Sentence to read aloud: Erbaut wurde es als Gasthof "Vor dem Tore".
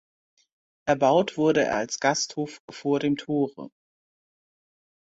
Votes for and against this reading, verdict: 0, 2, rejected